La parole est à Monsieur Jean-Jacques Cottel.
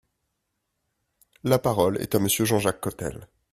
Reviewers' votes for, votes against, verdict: 2, 0, accepted